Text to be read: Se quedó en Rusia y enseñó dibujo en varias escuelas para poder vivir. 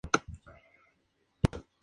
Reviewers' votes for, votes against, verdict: 0, 2, rejected